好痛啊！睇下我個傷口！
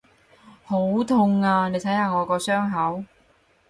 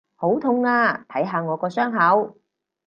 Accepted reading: second